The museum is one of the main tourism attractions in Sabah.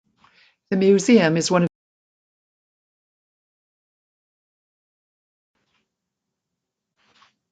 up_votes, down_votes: 0, 3